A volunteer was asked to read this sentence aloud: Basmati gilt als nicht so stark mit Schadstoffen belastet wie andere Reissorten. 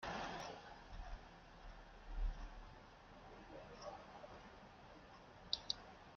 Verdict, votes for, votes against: rejected, 0, 3